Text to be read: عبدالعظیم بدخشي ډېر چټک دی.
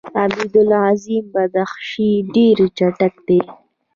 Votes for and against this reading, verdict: 1, 2, rejected